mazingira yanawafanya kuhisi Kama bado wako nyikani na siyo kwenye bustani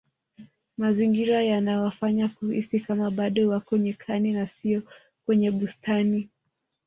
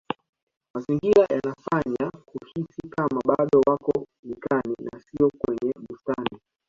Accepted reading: first